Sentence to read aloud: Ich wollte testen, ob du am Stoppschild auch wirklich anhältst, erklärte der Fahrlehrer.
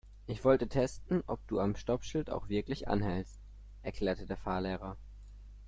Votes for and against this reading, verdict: 2, 0, accepted